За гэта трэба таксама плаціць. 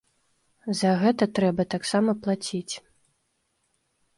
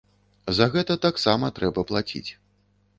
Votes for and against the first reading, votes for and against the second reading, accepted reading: 3, 0, 1, 2, first